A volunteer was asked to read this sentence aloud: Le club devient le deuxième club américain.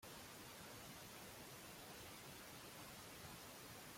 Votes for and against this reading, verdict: 0, 2, rejected